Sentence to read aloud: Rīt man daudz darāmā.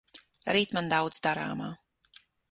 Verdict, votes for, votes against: accepted, 6, 0